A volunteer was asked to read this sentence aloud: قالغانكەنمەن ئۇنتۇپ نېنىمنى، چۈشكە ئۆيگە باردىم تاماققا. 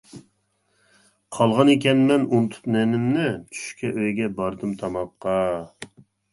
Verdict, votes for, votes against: rejected, 1, 2